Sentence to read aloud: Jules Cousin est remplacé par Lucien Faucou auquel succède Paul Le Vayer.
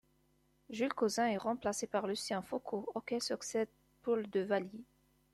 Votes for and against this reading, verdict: 2, 1, accepted